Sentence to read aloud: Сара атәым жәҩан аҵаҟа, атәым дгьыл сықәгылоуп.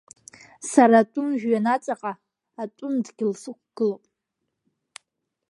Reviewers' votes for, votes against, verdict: 2, 0, accepted